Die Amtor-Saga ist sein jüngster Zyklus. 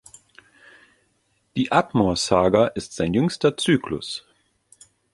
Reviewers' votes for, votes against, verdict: 1, 2, rejected